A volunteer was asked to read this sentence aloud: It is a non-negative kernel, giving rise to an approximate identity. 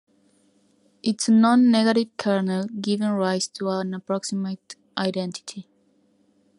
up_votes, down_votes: 1, 2